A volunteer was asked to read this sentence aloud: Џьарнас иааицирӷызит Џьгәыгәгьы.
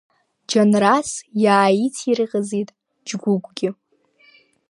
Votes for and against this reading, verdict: 0, 2, rejected